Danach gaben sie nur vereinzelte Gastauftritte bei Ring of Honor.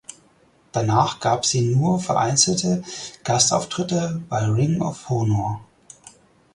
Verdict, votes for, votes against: rejected, 0, 4